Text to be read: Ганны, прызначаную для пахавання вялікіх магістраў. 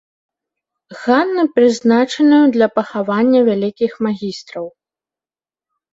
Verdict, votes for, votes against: rejected, 1, 2